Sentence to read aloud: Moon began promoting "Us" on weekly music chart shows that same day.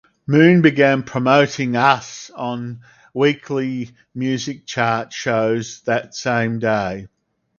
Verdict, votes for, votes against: accepted, 2, 0